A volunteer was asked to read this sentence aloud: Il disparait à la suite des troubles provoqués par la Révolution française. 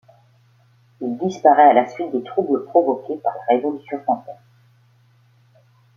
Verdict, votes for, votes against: rejected, 1, 2